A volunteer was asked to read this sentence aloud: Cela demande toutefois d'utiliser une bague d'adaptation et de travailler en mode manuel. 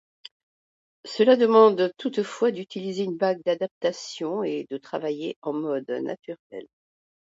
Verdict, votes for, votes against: rejected, 0, 2